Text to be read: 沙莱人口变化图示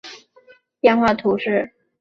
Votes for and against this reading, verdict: 1, 3, rejected